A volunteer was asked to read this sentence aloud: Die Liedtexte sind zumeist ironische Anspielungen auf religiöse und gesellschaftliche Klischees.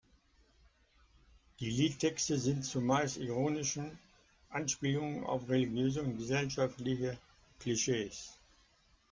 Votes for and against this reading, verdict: 1, 2, rejected